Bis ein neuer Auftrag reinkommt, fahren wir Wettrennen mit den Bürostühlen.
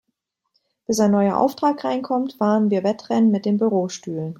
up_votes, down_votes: 2, 0